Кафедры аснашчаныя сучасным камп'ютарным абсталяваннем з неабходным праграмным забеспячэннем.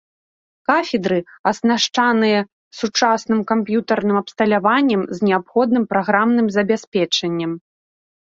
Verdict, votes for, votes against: rejected, 2, 3